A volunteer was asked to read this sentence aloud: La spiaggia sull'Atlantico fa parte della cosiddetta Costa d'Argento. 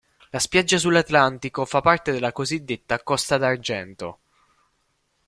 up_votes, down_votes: 2, 0